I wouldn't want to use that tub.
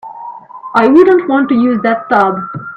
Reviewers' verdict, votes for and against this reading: rejected, 0, 2